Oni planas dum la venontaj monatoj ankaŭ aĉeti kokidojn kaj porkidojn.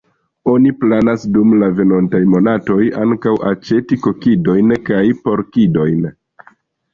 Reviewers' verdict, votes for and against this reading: rejected, 0, 2